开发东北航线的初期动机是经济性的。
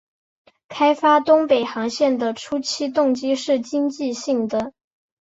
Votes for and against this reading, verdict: 3, 1, accepted